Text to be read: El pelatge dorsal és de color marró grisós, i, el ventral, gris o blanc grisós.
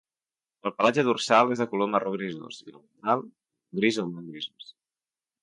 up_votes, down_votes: 0, 2